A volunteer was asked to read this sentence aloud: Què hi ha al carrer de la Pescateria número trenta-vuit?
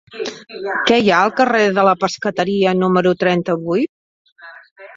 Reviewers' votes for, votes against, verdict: 4, 2, accepted